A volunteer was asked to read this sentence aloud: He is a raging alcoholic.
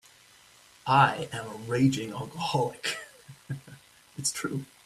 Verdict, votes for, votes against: rejected, 0, 2